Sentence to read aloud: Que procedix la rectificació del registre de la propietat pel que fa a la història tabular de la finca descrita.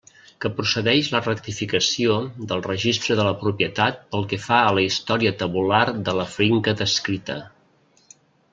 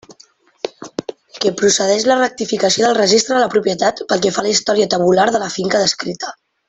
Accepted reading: second